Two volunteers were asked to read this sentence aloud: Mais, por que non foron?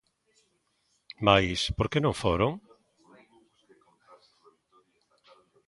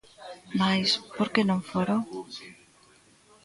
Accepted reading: first